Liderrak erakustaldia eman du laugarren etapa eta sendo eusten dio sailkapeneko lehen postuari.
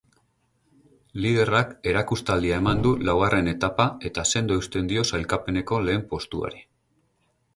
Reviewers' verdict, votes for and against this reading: accepted, 4, 0